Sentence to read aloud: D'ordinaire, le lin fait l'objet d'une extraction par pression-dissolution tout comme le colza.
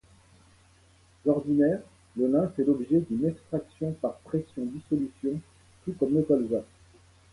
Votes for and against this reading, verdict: 2, 0, accepted